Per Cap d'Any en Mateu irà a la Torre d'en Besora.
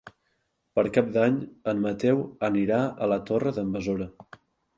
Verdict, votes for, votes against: rejected, 1, 3